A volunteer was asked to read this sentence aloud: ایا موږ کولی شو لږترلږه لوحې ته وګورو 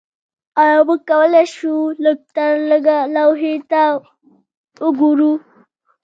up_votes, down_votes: 1, 2